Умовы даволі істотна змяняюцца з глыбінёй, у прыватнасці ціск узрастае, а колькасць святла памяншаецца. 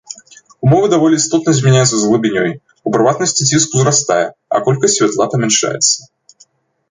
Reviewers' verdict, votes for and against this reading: rejected, 0, 2